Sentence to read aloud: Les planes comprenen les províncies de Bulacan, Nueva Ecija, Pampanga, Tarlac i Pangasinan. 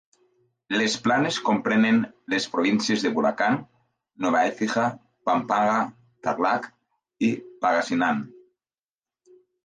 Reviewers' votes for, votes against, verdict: 0, 2, rejected